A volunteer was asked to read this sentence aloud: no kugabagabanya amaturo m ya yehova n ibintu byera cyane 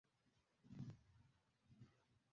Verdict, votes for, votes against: rejected, 0, 2